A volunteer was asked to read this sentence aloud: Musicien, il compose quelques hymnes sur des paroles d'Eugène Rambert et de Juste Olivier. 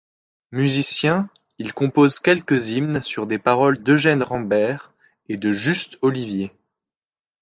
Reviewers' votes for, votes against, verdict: 2, 0, accepted